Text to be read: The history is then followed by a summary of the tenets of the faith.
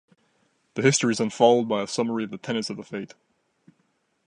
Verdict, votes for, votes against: accepted, 2, 0